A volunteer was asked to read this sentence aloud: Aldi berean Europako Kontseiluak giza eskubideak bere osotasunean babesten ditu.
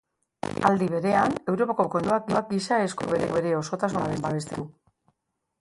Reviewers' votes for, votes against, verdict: 0, 3, rejected